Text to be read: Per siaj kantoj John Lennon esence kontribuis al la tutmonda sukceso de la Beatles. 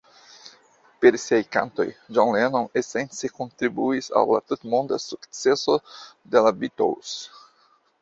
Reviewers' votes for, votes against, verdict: 0, 2, rejected